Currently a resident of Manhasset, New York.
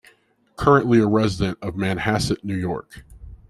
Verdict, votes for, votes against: accepted, 2, 0